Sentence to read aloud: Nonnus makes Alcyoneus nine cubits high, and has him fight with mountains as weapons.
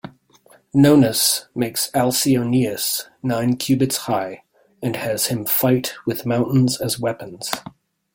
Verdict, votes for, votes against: accepted, 2, 0